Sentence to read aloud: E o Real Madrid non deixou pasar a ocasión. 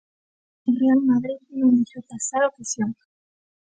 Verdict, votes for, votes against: rejected, 0, 2